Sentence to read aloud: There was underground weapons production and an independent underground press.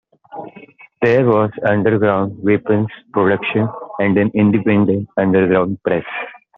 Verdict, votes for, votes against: accepted, 2, 0